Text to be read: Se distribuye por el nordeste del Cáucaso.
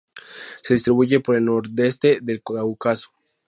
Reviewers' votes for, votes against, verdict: 0, 2, rejected